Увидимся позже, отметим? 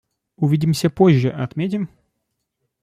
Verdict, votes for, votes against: accepted, 2, 0